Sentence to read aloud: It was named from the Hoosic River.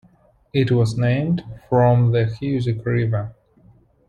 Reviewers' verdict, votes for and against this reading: accepted, 2, 0